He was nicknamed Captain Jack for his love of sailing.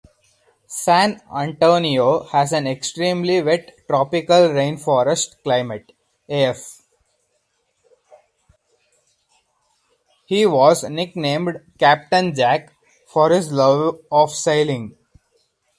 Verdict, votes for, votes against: rejected, 0, 4